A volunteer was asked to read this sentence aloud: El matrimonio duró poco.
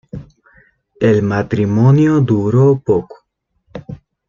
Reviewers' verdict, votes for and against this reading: rejected, 1, 2